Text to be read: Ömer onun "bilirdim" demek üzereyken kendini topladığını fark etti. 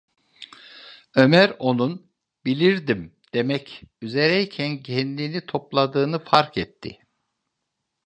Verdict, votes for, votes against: accepted, 2, 0